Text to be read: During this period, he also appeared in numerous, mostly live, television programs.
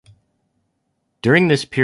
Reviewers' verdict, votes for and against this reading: rejected, 0, 2